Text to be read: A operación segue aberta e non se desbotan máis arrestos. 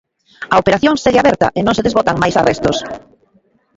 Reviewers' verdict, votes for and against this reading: accepted, 2, 0